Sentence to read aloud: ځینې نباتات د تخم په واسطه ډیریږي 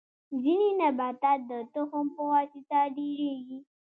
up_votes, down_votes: 2, 0